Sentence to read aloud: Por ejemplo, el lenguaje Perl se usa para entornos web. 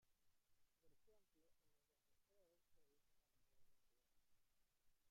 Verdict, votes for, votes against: rejected, 0, 2